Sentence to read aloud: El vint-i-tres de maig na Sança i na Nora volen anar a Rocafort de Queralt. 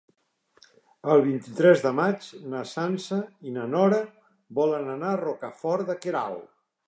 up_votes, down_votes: 3, 0